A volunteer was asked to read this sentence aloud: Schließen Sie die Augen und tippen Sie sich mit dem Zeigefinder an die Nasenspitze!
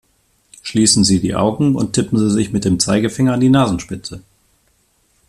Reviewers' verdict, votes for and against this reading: accepted, 2, 0